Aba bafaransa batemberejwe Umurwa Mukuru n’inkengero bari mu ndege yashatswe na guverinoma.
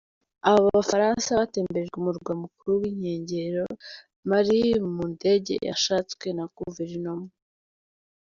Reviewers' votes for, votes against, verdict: 2, 0, accepted